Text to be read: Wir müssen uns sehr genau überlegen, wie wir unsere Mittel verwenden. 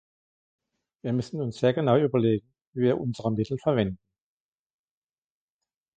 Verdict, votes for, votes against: accepted, 4, 1